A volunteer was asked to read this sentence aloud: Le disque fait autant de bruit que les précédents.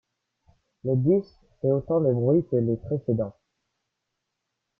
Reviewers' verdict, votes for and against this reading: accepted, 2, 0